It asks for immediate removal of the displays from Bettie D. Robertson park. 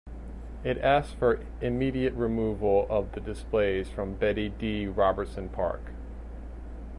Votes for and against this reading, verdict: 2, 0, accepted